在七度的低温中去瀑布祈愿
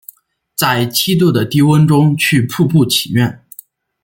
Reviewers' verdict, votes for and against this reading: accepted, 2, 0